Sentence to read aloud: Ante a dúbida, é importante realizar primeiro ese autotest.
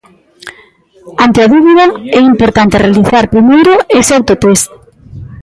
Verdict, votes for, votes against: accepted, 2, 0